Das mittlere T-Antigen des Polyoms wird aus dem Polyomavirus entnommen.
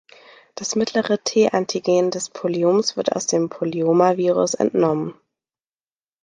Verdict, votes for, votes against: accepted, 2, 0